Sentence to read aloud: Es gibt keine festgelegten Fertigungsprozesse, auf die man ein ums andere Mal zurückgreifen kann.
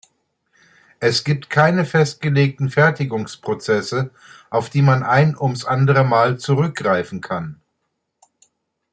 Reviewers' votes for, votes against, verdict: 2, 0, accepted